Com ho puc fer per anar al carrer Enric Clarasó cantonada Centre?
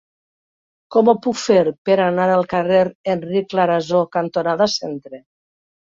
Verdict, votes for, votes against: accepted, 2, 0